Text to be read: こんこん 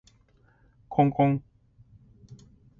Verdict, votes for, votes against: accepted, 2, 0